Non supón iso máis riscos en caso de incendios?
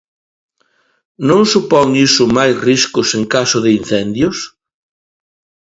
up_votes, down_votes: 2, 0